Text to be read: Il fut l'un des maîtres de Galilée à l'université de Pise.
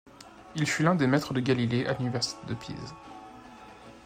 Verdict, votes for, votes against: rejected, 1, 2